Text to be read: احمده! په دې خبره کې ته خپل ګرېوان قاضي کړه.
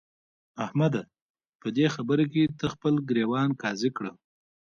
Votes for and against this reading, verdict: 2, 0, accepted